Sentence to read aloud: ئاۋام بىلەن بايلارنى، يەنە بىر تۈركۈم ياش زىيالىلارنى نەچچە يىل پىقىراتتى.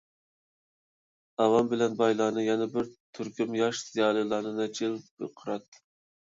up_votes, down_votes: 1, 2